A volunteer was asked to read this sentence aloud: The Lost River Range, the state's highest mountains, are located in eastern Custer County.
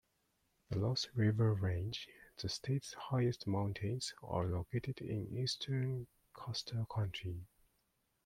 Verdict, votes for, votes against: rejected, 0, 2